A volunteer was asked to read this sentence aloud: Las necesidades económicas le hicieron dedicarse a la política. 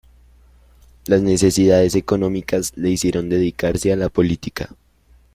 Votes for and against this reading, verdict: 2, 0, accepted